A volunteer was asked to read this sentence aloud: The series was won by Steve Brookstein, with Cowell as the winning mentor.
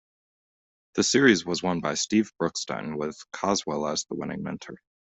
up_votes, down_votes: 1, 2